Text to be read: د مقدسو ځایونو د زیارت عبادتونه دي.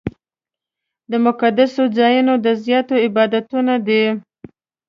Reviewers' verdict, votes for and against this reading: rejected, 1, 2